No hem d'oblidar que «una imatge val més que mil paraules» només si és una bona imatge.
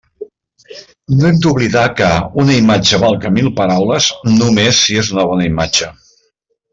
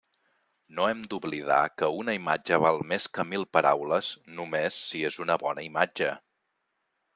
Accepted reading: second